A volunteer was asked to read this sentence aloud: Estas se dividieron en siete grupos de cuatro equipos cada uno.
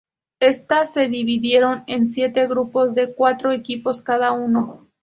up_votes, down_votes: 2, 0